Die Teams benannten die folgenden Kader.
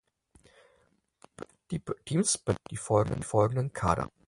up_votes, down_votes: 0, 4